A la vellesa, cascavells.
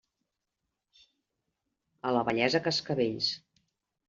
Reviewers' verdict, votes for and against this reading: accepted, 2, 0